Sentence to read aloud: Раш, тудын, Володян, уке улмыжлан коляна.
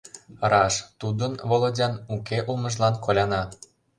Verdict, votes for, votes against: accepted, 2, 0